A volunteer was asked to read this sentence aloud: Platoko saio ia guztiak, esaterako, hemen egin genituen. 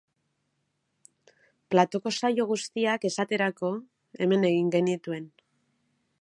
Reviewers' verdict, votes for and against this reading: rejected, 0, 2